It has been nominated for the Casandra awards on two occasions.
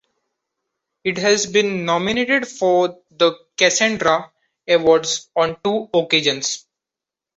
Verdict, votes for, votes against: accepted, 2, 0